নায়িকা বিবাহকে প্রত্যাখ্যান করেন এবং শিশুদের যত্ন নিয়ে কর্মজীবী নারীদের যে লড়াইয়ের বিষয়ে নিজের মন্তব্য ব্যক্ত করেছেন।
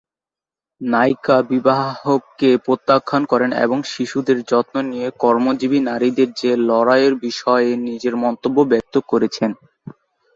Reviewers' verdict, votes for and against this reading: rejected, 0, 2